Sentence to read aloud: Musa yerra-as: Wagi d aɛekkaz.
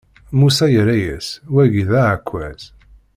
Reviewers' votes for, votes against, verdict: 2, 0, accepted